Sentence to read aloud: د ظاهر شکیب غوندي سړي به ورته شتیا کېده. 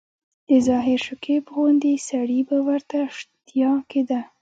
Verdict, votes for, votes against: rejected, 1, 2